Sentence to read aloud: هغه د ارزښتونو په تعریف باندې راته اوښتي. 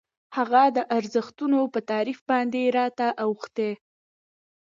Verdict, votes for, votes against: accepted, 2, 0